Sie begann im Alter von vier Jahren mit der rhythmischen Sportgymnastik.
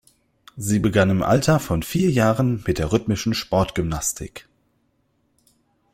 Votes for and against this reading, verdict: 2, 0, accepted